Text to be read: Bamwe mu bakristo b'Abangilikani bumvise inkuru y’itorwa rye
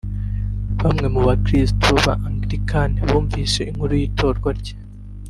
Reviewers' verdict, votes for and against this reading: rejected, 1, 2